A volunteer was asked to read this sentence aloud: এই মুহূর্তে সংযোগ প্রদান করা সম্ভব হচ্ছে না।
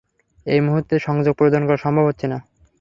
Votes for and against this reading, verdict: 3, 0, accepted